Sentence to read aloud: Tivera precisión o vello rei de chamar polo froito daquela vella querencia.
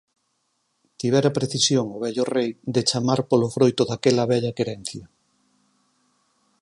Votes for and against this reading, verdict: 4, 0, accepted